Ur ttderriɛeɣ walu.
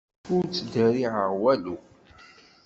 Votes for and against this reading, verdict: 2, 0, accepted